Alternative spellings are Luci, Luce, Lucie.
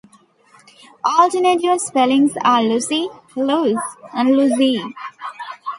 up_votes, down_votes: 1, 2